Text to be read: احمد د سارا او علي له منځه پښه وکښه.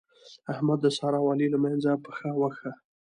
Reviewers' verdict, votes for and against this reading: accepted, 2, 0